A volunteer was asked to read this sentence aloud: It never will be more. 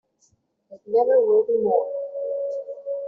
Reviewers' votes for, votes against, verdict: 1, 2, rejected